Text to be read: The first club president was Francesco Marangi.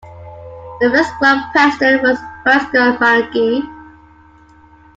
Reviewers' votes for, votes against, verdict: 0, 2, rejected